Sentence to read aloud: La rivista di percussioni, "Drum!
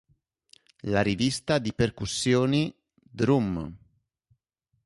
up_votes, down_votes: 2, 0